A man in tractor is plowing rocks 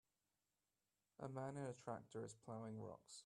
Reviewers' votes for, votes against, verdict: 0, 2, rejected